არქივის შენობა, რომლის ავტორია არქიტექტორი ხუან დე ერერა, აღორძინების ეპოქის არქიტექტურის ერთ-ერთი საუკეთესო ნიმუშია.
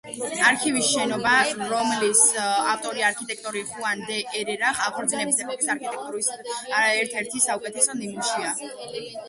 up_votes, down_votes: 0, 2